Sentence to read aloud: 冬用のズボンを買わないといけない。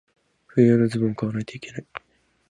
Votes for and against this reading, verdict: 0, 4, rejected